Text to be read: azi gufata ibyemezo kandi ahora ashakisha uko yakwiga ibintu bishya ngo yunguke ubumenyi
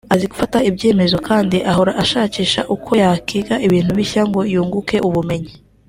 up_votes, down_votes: 2, 0